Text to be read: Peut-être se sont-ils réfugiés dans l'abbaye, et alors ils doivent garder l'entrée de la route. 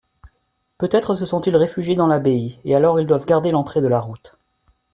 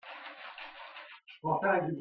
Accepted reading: first